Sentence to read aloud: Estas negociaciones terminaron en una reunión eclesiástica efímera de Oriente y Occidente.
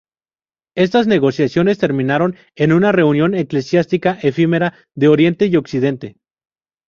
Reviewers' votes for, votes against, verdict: 2, 0, accepted